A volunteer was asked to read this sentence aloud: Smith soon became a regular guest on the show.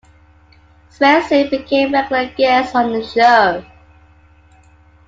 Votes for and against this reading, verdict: 0, 2, rejected